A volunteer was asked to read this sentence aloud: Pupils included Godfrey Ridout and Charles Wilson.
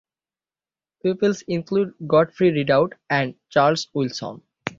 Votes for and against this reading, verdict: 3, 6, rejected